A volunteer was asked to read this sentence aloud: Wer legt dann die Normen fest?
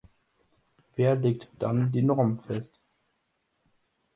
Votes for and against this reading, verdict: 2, 0, accepted